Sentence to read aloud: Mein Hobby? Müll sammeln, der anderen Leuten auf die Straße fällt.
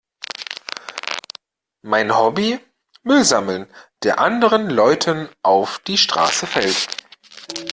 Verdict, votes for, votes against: accepted, 2, 0